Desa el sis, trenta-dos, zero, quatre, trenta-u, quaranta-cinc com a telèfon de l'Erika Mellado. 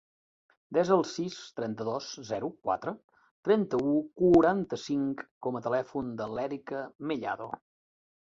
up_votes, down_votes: 2, 0